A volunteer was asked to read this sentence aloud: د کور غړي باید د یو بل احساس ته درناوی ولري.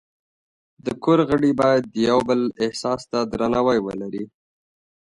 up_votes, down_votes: 2, 0